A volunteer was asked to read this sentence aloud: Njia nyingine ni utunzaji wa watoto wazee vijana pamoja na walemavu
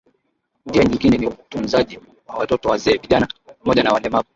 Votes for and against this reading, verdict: 8, 3, accepted